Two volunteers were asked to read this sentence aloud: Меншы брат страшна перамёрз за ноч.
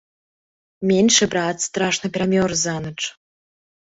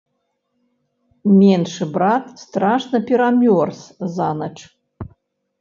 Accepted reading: first